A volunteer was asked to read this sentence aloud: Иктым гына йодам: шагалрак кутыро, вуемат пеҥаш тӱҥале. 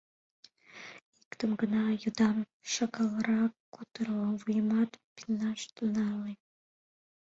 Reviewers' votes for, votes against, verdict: 1, 3, rejected